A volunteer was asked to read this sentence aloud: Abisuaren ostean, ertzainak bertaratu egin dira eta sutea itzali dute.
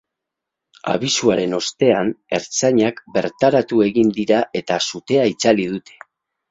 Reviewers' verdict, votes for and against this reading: accepted, 4, 0